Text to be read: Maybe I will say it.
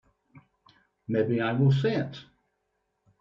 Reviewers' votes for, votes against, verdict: 2, 0, accepted